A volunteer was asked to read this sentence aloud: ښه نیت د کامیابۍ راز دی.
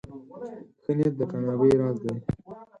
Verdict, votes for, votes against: rejected, 2, 6